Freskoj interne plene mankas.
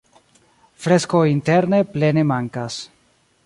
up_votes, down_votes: 2, 1